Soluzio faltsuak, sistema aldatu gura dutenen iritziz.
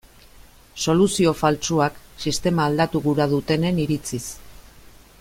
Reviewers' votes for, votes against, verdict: 2, 0, accepted